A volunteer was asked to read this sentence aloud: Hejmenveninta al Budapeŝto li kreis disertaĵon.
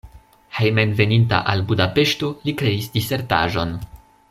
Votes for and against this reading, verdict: 2, 0, accepted